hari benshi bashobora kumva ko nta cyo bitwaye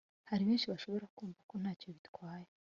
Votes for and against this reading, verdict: 2, 0, accepted